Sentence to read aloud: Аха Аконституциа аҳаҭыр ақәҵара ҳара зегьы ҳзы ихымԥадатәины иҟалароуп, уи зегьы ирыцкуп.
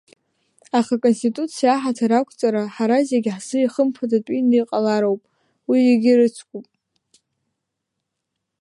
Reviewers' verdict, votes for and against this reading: accepted, 2, 0